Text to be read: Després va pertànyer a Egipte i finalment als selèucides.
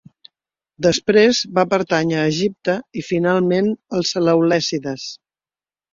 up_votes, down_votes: 0, 2